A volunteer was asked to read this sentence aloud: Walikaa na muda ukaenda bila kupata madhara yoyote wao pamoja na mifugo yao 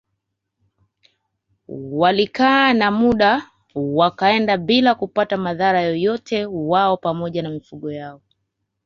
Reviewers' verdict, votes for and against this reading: rejected, 1, 2